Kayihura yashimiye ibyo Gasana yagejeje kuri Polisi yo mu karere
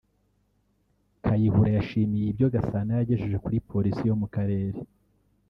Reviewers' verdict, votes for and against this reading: rejected, 0, 2